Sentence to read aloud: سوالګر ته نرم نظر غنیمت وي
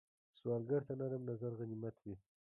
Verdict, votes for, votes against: accepted, 2, 1